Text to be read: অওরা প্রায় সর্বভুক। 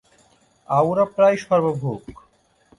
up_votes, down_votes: 1, 3